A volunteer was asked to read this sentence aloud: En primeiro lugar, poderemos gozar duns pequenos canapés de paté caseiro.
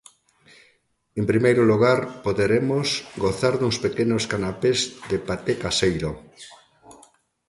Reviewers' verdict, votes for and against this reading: accepted, 2, 0